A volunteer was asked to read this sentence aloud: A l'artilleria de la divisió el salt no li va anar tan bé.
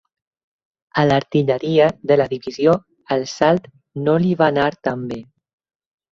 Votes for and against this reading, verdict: 4, 0, accepted